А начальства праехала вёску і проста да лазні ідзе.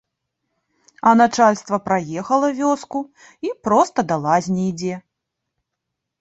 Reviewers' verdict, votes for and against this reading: accepted, 2, 0